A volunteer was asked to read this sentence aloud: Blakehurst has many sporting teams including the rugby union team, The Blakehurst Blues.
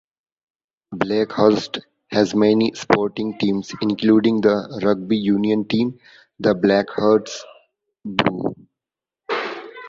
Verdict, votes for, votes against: rejected, 1, 2